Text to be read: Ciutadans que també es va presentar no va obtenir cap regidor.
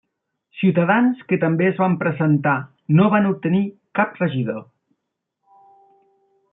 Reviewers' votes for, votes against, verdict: 0, 2, rejected